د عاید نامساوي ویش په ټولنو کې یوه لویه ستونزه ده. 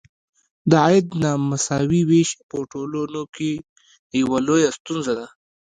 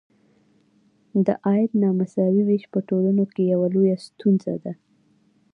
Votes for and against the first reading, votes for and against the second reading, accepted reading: 1, 2, 2, 0, second